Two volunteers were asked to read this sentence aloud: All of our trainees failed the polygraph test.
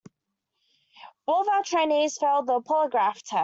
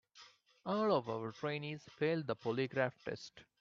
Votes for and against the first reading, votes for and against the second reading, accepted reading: 0, 2, 2, 0, second